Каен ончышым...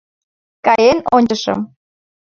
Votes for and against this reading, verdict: 2, 0, accepted